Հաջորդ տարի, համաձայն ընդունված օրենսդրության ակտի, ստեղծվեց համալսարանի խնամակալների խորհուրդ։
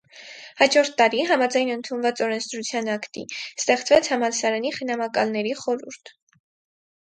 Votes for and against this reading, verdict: 4, 0, accepted